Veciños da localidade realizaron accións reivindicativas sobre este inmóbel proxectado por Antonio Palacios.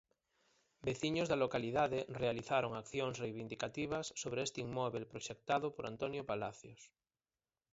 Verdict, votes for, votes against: rejected, 0, 4